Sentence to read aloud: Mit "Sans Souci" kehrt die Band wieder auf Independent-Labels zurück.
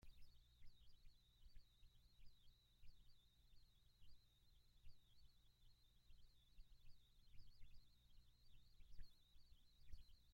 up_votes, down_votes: 0, 2